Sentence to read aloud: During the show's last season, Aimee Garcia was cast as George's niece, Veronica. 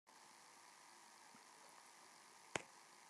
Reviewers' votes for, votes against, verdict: 0, 2, rejected